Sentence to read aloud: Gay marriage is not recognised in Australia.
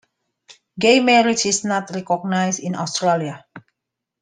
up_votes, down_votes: 2, 0